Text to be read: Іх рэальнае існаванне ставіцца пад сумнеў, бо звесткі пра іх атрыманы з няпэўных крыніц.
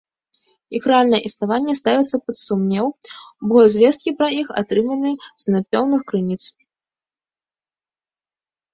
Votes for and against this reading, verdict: 0, 2, rejected